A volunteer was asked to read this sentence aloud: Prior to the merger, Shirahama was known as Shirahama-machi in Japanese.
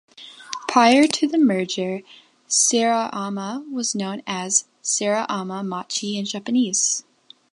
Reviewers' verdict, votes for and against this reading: rejected, 0, 2